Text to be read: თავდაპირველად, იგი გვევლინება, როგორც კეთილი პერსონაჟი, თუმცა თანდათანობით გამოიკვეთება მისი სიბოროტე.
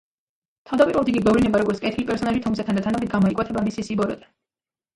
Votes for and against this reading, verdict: 1, 2, rejected